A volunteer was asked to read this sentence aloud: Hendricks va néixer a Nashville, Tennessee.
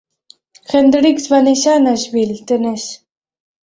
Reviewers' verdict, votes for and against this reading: rejected, 1, 2